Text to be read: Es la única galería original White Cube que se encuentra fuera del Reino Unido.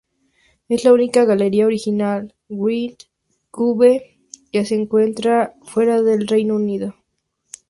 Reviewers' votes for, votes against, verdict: 2, 0, accepted